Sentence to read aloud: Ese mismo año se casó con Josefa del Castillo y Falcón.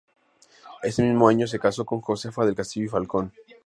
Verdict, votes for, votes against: accepted, 2, 0